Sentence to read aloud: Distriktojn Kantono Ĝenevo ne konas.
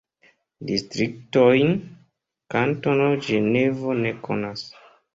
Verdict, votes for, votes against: accepted, 3, 1